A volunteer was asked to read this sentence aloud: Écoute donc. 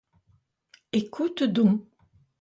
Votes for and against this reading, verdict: 0, 2, rejected